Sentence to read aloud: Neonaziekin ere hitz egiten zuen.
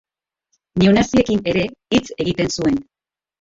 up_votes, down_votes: 4, 0